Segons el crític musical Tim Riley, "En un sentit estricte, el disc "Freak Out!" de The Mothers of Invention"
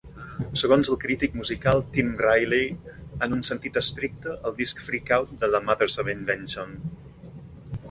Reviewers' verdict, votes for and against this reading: accepted, 2, 0